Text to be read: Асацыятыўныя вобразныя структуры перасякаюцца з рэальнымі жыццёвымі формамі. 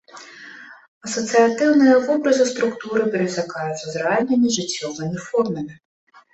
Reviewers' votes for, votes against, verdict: 1, 2, rejected